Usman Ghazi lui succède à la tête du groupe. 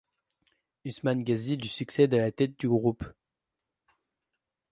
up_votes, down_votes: 2, 0